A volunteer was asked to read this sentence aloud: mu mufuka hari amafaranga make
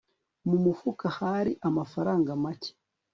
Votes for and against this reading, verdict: 3, 0, accepted